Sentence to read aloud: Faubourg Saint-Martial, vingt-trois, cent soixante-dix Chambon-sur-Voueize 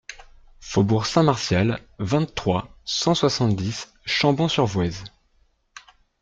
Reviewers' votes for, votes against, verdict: 2, 0, accepted